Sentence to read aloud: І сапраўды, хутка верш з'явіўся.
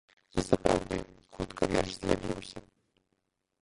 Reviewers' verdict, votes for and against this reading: rejected, 2, 3